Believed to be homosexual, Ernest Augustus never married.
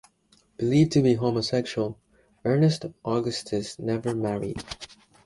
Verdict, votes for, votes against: accepted, 2, 0